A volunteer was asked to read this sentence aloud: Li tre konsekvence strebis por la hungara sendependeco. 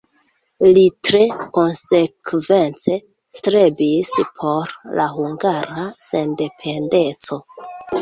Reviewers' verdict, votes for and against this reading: accepted, 3, 2